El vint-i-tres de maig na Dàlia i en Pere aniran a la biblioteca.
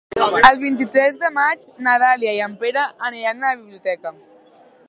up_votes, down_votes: 0, 2